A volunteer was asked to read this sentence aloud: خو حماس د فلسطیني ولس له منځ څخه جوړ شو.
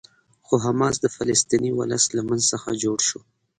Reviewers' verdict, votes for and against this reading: accepted, 2, 0